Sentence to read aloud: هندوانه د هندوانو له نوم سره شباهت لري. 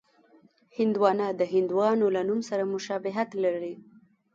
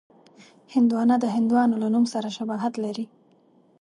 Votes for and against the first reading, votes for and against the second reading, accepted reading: 1, 2, 2, 0, second